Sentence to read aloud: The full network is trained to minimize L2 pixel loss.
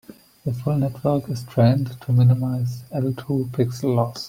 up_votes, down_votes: 0, 2